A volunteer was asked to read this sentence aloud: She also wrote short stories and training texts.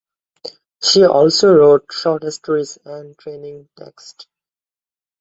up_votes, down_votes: 0, 2